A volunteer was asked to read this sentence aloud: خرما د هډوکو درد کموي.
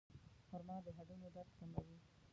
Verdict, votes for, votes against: rejected, 0, 2